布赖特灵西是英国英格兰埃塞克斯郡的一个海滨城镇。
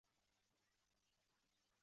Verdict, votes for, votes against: accepted, 4, 3